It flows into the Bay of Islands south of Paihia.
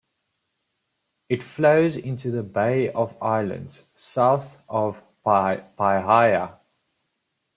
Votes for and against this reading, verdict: 1, 2, rejected